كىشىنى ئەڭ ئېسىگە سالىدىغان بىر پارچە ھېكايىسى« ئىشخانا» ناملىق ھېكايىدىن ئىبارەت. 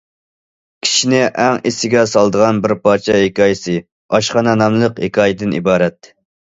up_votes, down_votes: 1, 2